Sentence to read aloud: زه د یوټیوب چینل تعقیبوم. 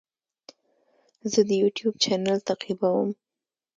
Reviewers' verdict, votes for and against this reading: accepted, 2, 0